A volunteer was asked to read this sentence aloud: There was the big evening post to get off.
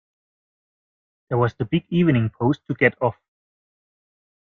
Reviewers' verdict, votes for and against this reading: accepted, 2, 0